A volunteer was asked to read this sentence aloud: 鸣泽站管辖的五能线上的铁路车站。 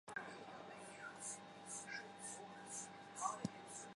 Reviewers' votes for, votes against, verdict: 1, 6, rejected